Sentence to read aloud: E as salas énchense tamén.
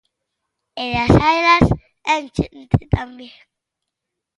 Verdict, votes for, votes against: rejected, 0, 2